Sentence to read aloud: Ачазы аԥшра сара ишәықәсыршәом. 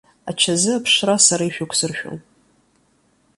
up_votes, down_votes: 4, 1